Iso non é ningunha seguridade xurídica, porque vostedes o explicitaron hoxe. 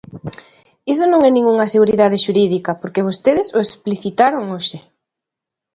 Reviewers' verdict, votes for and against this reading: accepted, 2, 0